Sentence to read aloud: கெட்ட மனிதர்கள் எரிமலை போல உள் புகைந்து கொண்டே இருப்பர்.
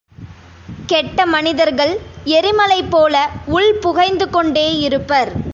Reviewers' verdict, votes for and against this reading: accepted, 2, 0